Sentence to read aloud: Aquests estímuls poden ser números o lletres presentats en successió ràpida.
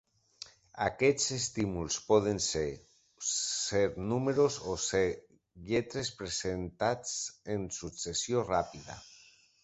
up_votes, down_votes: 0, 2